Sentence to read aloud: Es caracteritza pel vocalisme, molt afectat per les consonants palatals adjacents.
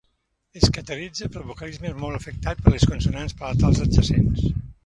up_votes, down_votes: 1, 2